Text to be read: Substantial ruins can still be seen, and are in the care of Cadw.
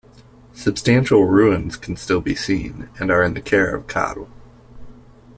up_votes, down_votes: 1, 2